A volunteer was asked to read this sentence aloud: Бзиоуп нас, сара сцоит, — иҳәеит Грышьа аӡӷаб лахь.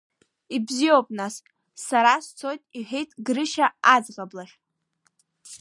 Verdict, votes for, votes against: rejected, 0, 2